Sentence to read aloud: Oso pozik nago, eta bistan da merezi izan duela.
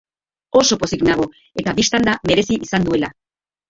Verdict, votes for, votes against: rejected, 0, 2